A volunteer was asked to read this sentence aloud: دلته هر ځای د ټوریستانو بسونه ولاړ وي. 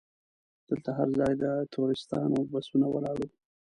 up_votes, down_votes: 1, 2